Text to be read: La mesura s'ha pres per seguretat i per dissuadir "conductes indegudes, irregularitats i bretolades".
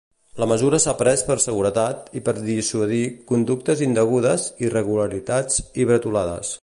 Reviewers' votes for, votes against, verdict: 2, 0, accepted